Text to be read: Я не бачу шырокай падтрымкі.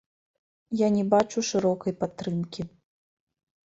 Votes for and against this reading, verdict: 2, 0, accepted